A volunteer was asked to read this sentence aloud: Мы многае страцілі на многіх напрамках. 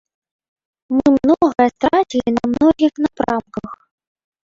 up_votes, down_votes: 0, 2